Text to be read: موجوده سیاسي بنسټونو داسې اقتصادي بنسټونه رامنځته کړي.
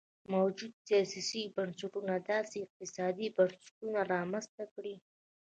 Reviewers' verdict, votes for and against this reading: rejected, 1, 2